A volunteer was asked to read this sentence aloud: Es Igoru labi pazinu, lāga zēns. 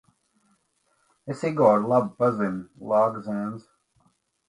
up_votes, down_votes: 2, 0